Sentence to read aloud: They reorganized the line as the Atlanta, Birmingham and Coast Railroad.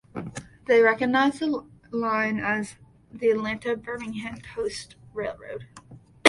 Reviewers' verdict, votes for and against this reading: rejected, 0, 2